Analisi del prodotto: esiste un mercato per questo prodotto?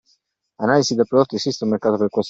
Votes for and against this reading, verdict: 0, 2, rejected